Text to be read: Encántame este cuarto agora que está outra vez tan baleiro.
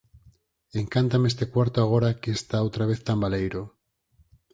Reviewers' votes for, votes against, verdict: 4, 0, accepted